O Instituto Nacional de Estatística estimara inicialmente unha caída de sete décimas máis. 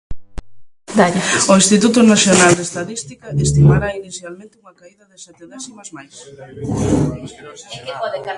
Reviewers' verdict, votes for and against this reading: rejected, 0, 2